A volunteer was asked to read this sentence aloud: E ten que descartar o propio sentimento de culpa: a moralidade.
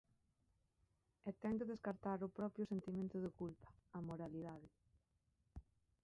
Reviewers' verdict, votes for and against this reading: rejected, 0, 2